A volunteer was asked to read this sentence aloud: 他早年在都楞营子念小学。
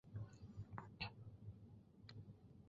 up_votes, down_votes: 1, 3